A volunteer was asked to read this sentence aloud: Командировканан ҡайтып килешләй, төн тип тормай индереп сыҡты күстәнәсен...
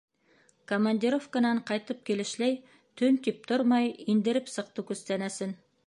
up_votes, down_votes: 2, 0